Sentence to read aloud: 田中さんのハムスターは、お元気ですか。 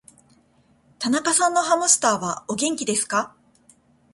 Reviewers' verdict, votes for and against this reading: accepted, 2, 0